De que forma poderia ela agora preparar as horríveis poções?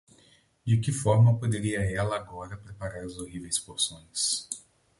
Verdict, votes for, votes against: rejected, 2, 2